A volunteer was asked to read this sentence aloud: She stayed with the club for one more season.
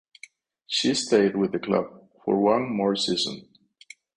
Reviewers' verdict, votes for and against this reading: accepted, 4, 0